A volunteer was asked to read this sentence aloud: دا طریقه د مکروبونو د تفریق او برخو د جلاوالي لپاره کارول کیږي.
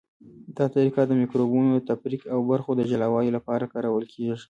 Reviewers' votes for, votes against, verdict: 2, 0, accepted